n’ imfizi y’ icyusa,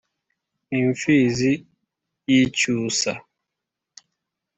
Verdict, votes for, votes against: accepted, 4, 0